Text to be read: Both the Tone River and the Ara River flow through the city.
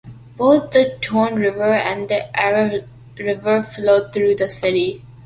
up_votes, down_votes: 2, 0